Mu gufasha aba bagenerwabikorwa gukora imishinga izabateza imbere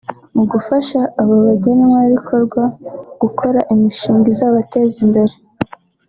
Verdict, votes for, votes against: accepted, 2, 0